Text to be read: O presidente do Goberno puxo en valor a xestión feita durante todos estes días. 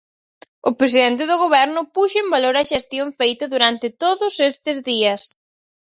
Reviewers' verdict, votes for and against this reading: accepted, 4, 0